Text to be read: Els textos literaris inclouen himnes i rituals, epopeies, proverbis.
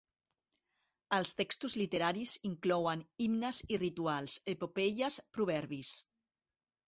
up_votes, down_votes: 4, 0